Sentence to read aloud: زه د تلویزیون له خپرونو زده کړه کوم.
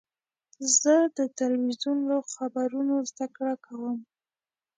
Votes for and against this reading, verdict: 2, 1, accepted